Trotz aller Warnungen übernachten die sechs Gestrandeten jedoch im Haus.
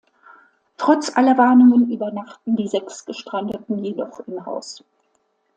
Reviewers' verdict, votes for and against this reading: accepted, 2, 0